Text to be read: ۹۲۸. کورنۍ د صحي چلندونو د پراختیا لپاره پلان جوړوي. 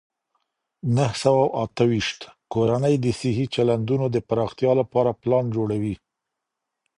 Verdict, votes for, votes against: rejected, 0, 2